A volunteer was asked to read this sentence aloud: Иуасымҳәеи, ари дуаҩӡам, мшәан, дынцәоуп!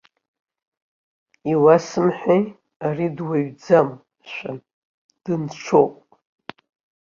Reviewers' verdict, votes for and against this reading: accepted, 2, 0